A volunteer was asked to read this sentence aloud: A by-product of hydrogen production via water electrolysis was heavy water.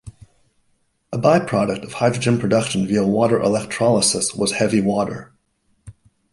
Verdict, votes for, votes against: accepted, 2, 0